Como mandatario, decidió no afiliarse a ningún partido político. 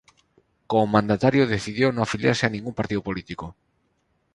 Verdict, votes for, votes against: rejected, 0, 2